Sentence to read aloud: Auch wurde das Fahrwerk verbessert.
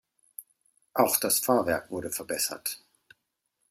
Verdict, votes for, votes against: rejected, 1, 3